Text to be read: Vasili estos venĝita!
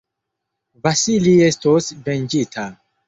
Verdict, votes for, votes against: accepted, 2, 0